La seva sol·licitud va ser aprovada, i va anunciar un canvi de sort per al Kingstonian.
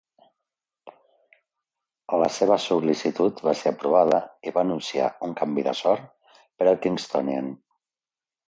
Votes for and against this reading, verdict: 1, 2, rejected